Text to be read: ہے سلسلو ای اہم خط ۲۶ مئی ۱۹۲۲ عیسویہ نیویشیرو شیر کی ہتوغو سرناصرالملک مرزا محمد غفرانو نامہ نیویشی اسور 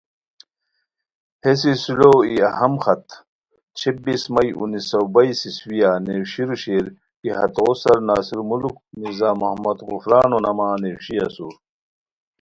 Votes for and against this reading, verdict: 0, 2, rejected